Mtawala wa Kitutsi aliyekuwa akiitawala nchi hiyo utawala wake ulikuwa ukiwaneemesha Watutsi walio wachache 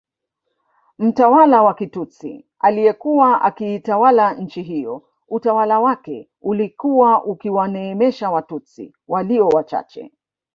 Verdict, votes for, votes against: rejected, 0, 2